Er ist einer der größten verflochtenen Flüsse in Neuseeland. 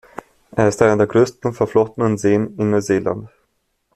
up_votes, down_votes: 1, 2